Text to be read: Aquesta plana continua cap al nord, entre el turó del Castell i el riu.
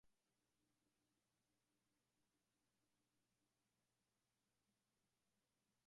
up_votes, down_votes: 1, 2